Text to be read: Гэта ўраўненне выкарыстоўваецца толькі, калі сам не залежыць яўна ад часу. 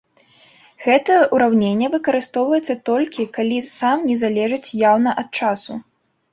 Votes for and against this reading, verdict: 2, 0, accepted